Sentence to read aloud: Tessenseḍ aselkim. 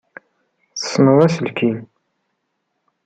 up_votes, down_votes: 2, 0